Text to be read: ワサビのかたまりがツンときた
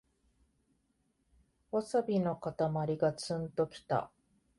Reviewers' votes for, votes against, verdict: 2, 0, accepted